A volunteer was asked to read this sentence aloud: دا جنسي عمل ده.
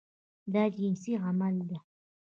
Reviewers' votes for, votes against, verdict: 0, 2, rejected